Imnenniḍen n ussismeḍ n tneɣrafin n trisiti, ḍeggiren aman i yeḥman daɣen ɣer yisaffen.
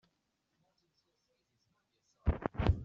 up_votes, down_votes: 1, 2